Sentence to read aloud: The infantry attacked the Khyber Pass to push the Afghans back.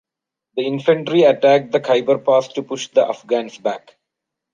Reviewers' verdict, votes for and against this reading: accepted, 2, 0